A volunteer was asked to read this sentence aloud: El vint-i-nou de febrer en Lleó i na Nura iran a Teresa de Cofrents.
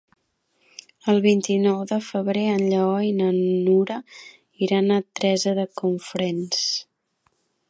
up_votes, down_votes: 1, 2